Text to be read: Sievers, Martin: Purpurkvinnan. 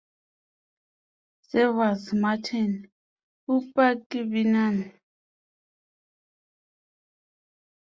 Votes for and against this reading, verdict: 2, 0, accepted